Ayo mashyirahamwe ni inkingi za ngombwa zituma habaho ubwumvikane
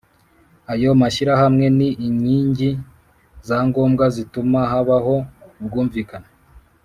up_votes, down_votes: 2, 0